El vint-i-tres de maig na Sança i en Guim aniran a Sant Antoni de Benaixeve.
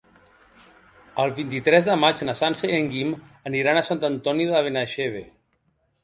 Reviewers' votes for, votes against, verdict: 3, 0, accepted